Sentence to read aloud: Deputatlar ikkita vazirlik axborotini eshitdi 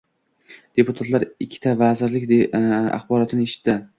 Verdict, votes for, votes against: rejected, 0, 2